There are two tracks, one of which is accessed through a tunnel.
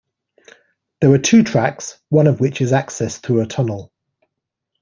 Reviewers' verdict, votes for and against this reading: accepted, 2, 0